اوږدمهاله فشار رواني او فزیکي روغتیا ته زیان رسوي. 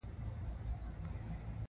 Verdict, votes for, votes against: rejected, 0, 2